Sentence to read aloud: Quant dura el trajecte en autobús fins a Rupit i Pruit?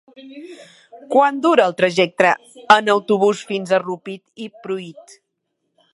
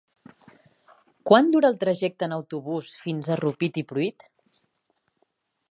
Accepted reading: second